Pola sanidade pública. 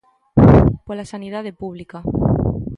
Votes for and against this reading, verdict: 2, 0, accepted